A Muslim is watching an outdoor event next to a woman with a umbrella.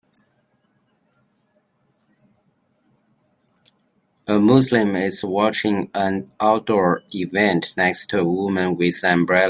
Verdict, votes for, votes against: rejected, 2, 3